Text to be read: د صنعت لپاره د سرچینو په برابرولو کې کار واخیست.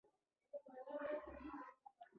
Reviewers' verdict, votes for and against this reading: accepted, 2, 1